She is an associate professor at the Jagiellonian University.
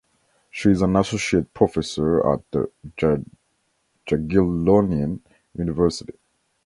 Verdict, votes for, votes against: rejected, 0, 2